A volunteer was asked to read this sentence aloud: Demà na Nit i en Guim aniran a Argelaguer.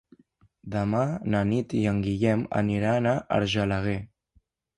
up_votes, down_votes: 0, 2